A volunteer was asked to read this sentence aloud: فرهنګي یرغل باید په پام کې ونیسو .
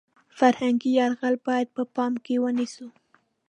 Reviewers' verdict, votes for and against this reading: accepted, 3, 0